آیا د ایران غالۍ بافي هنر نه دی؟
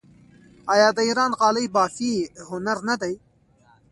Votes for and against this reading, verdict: 0, 2, rejected